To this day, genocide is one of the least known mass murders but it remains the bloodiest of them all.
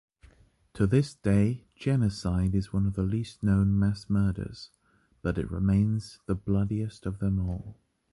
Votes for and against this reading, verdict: 1, 2, rejected